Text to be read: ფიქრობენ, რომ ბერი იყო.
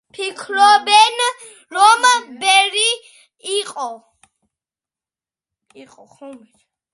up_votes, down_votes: 0, 2